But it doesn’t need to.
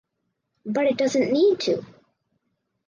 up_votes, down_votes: 4, 0